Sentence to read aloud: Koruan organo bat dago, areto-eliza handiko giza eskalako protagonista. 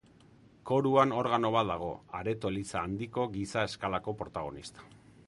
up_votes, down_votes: 3, 0